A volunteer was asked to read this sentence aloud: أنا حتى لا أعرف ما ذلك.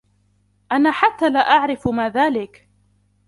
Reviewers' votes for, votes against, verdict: 0, 2, rejected